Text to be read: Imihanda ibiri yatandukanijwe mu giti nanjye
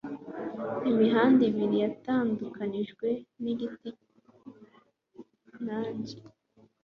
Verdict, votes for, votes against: accepted, 2, 0